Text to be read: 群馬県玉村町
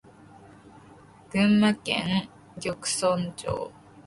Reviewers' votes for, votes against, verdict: 1, 2, rejected